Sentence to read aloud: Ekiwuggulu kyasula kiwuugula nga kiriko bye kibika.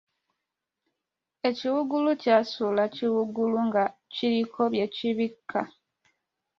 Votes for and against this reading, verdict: 1, 2, rejected